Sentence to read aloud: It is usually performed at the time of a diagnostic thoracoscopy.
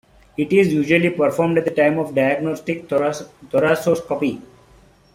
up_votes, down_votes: 0, 2